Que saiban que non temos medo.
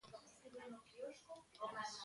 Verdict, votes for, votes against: rejected, 0, 2